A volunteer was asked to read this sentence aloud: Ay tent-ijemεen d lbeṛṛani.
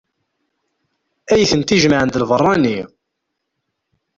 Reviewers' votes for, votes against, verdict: 1, 2, rejected